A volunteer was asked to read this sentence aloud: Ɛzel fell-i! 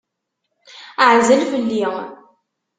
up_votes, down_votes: 2, 0